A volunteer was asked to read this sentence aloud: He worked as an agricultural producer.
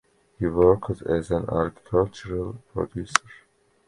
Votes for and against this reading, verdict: 1, 2, rejected